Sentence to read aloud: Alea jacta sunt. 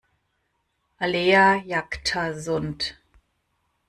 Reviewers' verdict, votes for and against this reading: accepted, 2, 0